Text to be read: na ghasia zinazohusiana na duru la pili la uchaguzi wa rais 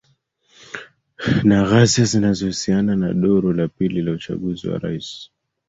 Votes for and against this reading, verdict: 1, 2, rejected